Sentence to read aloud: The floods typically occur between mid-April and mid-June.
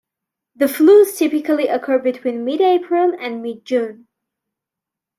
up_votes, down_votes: 1, 2